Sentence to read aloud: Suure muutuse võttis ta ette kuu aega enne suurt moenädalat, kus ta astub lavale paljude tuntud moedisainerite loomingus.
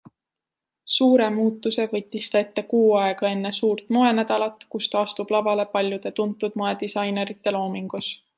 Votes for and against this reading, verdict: 2, 0, accepted